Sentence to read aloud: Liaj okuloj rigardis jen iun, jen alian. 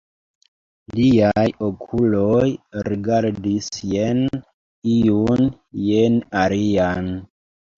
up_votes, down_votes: 1, 2